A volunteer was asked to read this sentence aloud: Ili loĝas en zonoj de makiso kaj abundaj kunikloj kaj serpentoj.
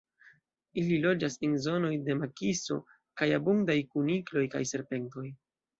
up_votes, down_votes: 2, 0